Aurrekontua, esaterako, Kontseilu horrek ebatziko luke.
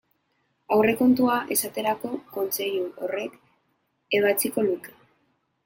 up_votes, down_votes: 3, 0